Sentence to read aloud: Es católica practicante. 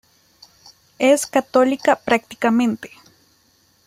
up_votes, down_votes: 0, 2